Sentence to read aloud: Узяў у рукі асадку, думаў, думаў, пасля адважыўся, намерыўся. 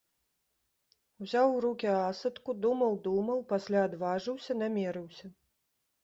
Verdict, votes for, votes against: rejected, 0, 2